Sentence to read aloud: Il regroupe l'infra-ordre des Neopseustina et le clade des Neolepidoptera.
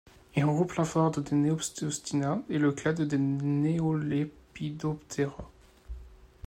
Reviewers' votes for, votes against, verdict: 2, 1, accepted